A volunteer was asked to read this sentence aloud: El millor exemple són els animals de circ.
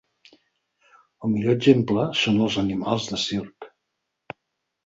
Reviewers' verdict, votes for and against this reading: accepted, 4, 0